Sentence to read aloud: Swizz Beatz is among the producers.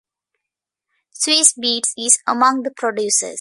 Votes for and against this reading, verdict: 2, 0, accepted